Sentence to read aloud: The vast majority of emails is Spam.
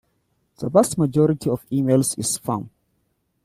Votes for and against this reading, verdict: 2, 1, accepted